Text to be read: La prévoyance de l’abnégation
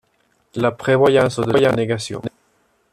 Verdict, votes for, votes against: rejected, 0, 2